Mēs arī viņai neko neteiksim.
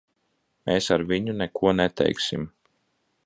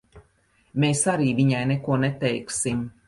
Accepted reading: second